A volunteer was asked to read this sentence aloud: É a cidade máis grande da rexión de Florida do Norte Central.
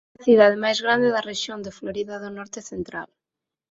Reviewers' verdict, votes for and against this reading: rejected, 0, 4